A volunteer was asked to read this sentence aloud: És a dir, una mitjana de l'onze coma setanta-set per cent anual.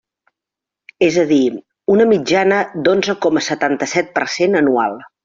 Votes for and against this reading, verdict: 0, 2, rejected